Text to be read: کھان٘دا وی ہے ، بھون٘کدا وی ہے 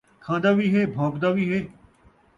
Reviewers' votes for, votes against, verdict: 2, 0, accepted